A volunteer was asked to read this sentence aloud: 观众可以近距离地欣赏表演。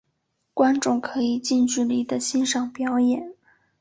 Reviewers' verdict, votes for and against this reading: accepted, 2, 0